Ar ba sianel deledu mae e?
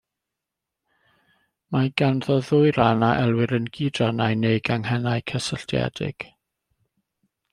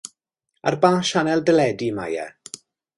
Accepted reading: second